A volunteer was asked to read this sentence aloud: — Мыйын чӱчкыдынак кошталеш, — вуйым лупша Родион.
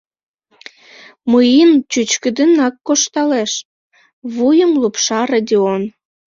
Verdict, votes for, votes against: rejected, 0, 2